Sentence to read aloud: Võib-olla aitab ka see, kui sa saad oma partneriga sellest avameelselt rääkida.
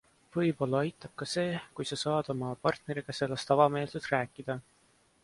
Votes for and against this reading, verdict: 2, 0, accepted